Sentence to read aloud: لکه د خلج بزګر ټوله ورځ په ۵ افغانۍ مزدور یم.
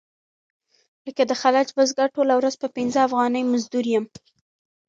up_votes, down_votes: 0, 2